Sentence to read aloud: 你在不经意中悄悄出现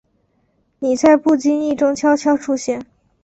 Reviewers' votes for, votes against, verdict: 2, 0, accepted